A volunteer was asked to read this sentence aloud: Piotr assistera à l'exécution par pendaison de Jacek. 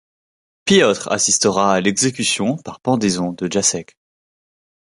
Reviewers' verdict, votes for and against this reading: rejected, 1, 2